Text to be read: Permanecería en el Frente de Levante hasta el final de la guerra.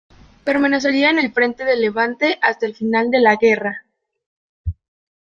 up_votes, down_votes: 2, 0